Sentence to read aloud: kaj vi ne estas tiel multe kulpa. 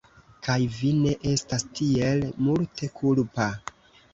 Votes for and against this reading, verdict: 1, 2, rejected